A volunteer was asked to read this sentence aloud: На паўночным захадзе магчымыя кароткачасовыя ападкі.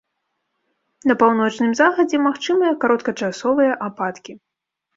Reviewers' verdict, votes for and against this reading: accepted, 2, 0